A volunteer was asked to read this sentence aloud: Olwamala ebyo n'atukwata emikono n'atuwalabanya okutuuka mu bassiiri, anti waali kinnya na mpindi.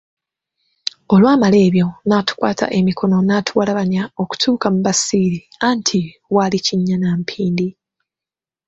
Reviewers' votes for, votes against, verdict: 2, 0, accepted